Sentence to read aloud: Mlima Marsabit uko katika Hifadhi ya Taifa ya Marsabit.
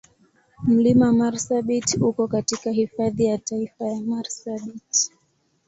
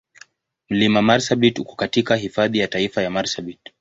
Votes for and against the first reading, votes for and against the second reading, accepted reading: 2, 0, 1, 2, first